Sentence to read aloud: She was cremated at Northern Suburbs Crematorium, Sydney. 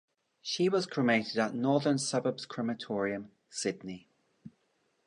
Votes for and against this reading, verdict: 1, 2, rejected